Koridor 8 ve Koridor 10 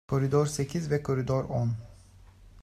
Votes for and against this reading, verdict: 0, 2, rejected